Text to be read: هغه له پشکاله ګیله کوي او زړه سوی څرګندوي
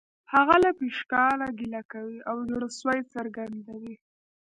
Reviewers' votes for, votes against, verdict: 1, 2, rejected